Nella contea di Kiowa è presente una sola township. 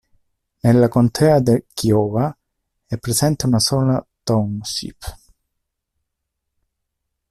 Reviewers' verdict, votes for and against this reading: rejected, 0, 2